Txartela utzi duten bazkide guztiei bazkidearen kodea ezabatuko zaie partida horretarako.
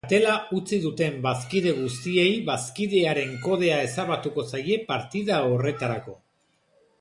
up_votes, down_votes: 1, 2